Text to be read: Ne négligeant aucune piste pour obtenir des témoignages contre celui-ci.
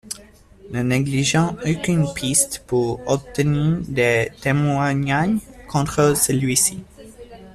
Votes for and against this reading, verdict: 1, 2, rejected